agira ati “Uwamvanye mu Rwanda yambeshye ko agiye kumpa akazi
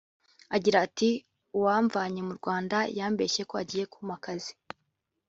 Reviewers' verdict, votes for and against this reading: accepted, 2, 0